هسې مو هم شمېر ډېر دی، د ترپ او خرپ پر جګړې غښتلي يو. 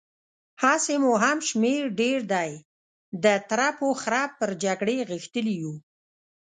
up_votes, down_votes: 0, 2